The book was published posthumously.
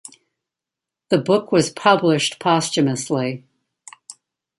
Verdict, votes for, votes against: accepted, 2, 0